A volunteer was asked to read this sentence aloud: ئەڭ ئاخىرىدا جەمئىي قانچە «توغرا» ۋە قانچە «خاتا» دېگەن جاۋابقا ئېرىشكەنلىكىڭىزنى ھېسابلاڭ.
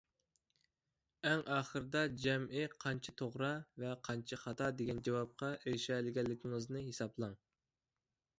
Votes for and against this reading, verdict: 1, 2, rejected